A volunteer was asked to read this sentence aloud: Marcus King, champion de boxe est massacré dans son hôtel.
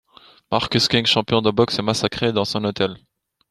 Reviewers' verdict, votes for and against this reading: accepted, 2, 0